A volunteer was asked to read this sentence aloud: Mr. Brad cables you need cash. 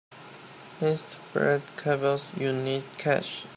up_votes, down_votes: 0, 2